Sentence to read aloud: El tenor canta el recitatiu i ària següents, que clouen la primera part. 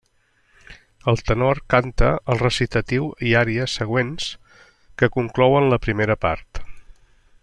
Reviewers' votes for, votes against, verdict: 1, 2, rejected